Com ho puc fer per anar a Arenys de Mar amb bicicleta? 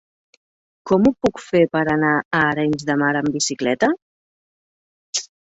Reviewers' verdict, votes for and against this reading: accepted, 4, 0